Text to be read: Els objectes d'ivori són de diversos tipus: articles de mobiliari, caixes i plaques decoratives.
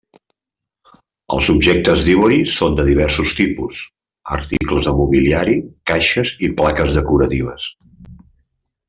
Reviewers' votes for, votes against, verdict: 1, 2, rejected